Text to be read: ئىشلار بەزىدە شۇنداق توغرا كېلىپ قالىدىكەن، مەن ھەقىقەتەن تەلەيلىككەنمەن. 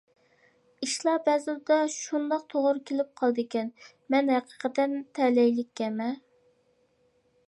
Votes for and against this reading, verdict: 2, 0, accepted